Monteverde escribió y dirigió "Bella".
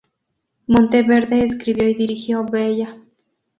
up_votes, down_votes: 4, 0